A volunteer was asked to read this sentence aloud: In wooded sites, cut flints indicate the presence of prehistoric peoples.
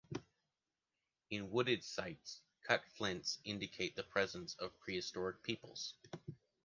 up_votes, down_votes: 2, 0